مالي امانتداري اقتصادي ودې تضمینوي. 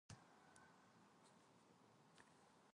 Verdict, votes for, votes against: rejected, 0, 2